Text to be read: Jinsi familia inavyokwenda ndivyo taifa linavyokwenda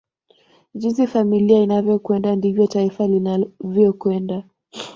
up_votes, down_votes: 2, 1